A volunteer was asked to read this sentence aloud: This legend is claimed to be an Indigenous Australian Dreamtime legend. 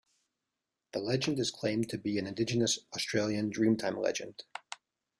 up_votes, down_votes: 0, 2